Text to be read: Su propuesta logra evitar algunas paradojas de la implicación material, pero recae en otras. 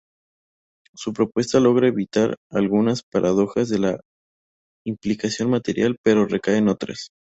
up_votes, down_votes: 2, 0